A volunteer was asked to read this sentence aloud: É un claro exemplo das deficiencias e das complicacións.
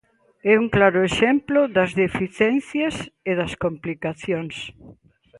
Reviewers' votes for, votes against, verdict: 0, 2, rejected